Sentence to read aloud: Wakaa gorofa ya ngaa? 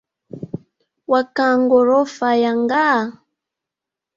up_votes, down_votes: 0, 2